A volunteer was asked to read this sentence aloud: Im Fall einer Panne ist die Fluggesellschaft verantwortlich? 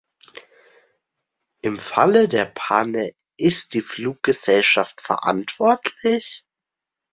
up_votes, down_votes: 0, 2